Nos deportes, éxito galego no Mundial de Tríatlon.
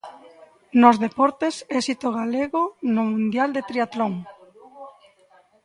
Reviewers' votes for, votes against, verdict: 0, 2, rejected